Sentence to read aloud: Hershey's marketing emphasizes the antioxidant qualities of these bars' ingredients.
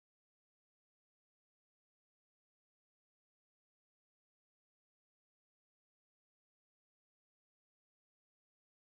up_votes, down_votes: 0, 2